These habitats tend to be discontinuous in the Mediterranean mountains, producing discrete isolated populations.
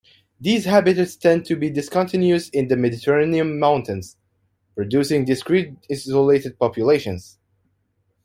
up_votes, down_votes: 1, 2